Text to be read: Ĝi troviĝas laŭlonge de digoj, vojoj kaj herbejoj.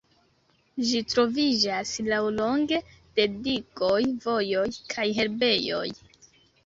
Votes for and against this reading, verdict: 1, 2, rejected